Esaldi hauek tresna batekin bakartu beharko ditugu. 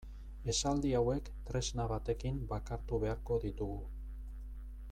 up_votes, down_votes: 2, 1